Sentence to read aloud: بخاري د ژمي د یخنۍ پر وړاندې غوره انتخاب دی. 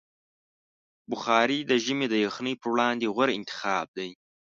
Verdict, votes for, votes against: accepted, 2, 0